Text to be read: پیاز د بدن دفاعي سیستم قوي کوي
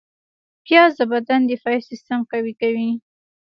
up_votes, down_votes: 0, 2